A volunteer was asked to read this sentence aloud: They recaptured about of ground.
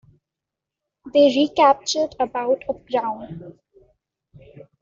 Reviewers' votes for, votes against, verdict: 1, 2, rejected